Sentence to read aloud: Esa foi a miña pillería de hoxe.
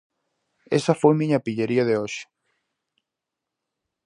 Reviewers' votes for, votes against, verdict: 0, 4, rejected